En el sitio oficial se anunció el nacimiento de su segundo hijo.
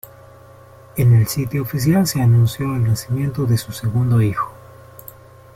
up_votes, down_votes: 2, 0